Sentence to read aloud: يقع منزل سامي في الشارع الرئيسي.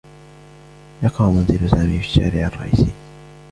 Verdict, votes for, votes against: accepted, 2, 0